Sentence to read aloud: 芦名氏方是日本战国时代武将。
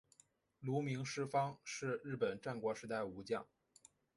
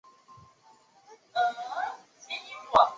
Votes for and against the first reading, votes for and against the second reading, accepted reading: 3, 0, 0, 3, first